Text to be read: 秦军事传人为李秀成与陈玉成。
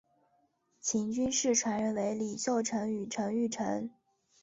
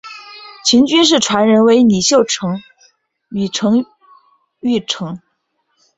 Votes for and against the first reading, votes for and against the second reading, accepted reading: 2, 0, 0, 2, first